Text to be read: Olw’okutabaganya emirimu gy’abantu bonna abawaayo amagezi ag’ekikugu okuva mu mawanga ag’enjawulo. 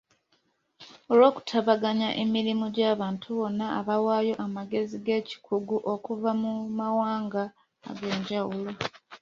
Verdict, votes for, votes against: accepted, 2, 0